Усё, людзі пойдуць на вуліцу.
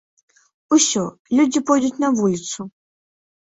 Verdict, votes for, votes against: accepted, 2, 0